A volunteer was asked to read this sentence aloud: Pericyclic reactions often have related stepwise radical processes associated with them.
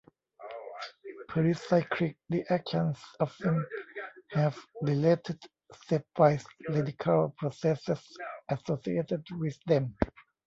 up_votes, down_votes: 1, 2